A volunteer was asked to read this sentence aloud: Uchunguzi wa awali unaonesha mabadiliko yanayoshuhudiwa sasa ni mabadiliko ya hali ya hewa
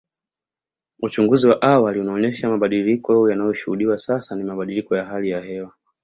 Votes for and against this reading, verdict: 2, 0, accepted